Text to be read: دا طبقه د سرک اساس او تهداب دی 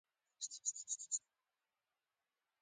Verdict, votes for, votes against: rejected, 1, 2